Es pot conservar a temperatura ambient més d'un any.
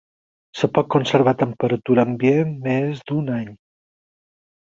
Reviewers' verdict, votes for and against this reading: rejected, 0, 4